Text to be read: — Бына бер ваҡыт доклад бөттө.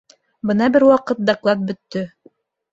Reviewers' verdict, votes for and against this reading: accepted, 2, 0